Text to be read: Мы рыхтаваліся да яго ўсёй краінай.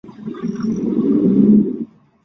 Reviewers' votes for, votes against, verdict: 0, 2, rejected